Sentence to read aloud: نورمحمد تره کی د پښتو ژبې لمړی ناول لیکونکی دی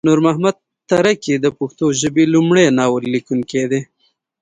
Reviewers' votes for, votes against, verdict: 2, 0, accepted